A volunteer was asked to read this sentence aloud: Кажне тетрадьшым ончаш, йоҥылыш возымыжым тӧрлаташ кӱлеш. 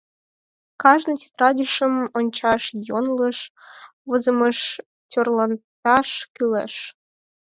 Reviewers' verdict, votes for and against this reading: rejected, 0, 4